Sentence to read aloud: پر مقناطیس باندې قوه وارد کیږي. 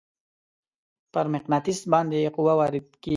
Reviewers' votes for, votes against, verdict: 2, 0, accepted